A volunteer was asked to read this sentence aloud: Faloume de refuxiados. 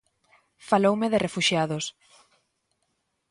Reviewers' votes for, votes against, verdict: 2, 0, accepted